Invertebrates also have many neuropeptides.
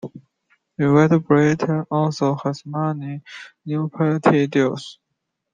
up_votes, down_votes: 0, 2